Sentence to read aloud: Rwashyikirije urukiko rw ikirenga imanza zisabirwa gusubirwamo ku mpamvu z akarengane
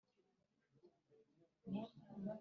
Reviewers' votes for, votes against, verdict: 1, 2, rejected